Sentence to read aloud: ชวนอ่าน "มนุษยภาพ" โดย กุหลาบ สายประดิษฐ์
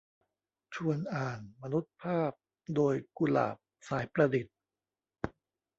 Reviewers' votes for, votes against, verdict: 0, 2, rejected